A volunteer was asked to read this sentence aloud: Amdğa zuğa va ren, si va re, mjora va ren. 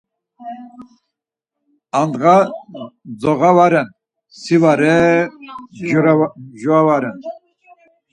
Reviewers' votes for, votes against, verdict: 4, 2, accepted